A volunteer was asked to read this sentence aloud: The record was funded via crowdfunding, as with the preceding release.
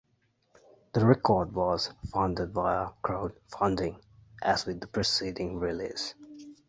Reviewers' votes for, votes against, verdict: 2, 0, accepted